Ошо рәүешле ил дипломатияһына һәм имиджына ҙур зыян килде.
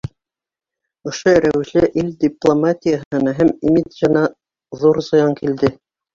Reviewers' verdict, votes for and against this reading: accepted, 3, 0